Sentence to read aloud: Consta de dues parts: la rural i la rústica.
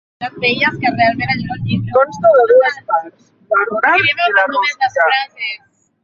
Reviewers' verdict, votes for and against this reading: rejected, 0, 3